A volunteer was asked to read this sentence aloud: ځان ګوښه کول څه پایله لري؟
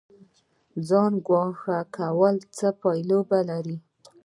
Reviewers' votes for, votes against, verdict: 1, 2, rejected